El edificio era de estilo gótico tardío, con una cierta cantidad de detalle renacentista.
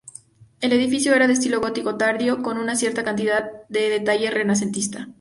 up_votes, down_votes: 2, 0